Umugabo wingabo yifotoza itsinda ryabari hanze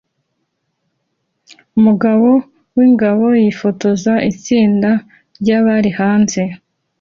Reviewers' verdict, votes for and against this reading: accepted, 2, 0